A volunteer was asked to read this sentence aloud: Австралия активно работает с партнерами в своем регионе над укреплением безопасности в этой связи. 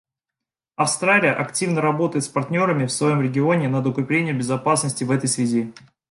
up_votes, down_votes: 2, 0